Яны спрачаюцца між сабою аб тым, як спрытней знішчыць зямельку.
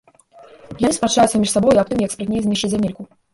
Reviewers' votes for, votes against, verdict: 1, 2, rejected